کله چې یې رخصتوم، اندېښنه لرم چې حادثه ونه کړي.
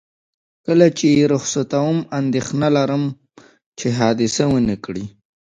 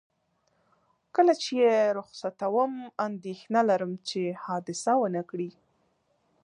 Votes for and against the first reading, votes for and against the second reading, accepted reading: 1, 2, 2, 0, second